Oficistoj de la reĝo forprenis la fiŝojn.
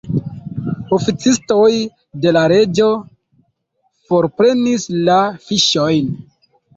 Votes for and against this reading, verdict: 1, 2, rejected